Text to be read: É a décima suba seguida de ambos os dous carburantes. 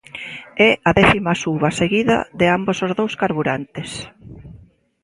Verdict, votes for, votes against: rejected, 1, 2